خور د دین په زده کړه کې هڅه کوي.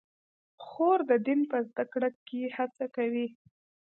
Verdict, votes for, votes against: accepted, 2, 0